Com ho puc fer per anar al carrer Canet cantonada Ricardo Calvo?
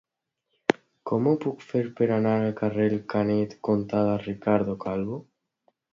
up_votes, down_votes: 0, 2